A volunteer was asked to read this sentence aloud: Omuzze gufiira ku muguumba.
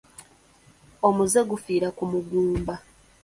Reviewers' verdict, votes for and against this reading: accepted, 2, 0